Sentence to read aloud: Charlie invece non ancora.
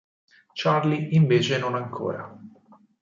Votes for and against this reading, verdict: 4, 0, accepted